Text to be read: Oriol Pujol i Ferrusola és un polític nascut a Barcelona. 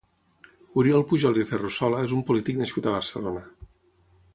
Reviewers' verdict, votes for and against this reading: accepted, 3, 0